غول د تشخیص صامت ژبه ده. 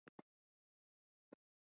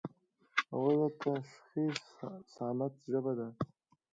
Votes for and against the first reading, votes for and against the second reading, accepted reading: 0, 2, 2, 1, second